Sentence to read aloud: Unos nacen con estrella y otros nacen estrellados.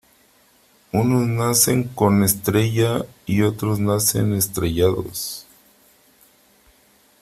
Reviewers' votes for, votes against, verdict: 3, 0, accepted